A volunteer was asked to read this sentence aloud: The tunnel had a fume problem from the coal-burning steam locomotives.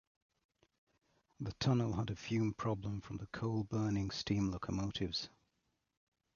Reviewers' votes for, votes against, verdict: 2, 1, accepted